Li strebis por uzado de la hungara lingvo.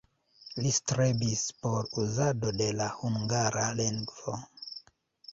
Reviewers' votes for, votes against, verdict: 1, 2, rejected